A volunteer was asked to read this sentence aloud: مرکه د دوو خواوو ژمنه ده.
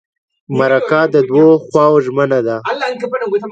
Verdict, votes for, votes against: accepted, 2, 0